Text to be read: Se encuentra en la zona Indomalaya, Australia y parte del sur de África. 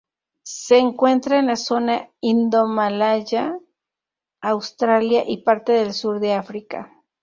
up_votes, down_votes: 0, 2